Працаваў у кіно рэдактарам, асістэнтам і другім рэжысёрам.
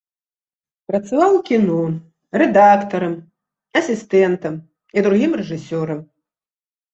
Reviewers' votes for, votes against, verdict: 1, 2, rejected